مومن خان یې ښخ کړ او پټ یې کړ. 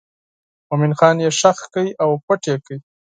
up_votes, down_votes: 6, 0